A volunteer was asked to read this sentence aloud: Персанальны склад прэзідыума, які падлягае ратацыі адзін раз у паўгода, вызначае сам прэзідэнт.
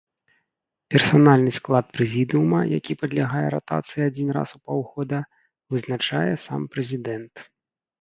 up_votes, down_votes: 2, 0